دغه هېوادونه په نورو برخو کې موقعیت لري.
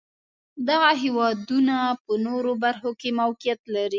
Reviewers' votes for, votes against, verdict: 2, 0, accepted